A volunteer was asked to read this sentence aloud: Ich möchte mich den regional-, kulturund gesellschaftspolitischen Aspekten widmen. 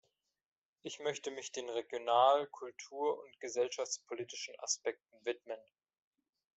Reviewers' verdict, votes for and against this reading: accepted, 2, 1